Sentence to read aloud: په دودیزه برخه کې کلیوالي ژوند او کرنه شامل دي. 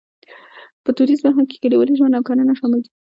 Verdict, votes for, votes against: accepted, 2, 0